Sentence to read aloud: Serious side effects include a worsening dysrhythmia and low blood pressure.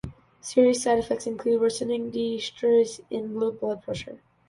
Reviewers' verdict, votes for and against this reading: rejected, 0, 2